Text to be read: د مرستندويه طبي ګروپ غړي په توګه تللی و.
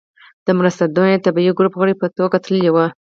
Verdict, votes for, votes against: accepted, 4, 0